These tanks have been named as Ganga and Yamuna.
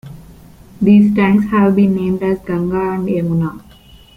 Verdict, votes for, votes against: rejected, 0, 2